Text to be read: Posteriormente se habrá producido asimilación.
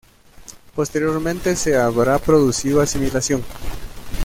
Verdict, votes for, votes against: rejected, 0, 2